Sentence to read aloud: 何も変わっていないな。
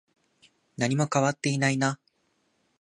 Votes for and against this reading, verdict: 2, 0, accepted